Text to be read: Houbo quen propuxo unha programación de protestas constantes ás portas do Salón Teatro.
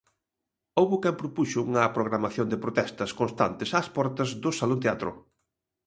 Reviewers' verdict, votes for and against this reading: accepted, 2, 0